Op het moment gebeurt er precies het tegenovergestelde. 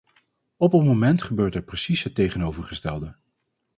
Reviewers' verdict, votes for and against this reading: rejected, 2, 2